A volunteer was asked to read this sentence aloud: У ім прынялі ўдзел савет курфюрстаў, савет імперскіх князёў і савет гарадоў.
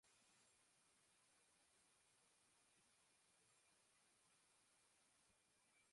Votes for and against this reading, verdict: 0, 2, rejected